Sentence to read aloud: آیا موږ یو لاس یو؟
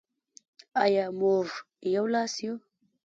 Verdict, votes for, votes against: accepted, 2, 1